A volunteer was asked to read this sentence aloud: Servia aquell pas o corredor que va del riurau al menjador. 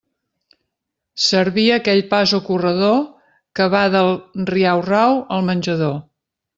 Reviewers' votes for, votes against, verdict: 0, 2, rejected